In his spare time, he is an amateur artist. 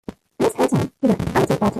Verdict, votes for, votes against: rejected, 0, 2